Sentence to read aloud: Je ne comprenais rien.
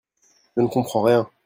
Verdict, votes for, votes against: rejected, 0, 2